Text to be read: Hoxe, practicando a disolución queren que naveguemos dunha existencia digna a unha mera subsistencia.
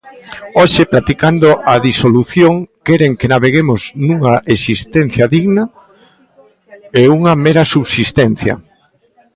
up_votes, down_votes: 0, 2